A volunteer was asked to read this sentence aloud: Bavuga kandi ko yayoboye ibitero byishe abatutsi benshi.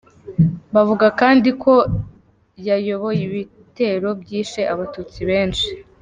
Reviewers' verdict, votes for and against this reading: accepted, 3, 0